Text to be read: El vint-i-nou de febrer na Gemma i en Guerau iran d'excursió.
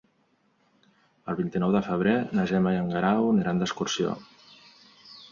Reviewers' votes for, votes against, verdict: 1, 2, rejected